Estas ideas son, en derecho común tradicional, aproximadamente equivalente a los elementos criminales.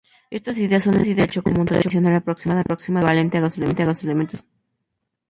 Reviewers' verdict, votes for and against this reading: rejected, 0, 2